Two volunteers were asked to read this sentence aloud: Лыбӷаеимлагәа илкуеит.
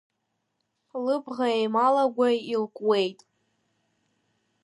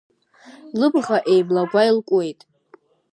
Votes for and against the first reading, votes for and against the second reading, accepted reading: 1, 2, 2, 0, second